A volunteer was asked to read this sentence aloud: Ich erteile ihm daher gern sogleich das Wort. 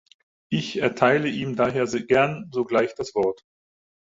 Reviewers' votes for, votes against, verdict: 0, 4, rejected